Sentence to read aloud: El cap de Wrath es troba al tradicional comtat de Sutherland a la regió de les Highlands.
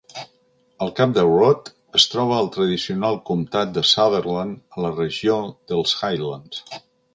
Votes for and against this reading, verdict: 0, 2, rejected